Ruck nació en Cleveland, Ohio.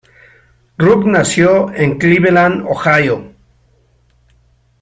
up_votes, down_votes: 2, 0